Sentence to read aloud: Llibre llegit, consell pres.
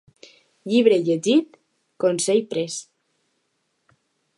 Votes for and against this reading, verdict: 2, 0, accepted